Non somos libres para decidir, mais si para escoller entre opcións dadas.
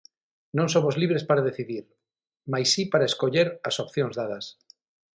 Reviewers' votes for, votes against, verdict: 3, 6, rejected